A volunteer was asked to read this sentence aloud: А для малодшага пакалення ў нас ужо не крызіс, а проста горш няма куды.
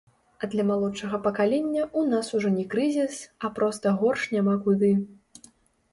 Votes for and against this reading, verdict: 0, 2, rejected